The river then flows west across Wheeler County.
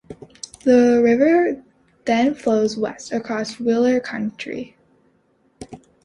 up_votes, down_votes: 1, 2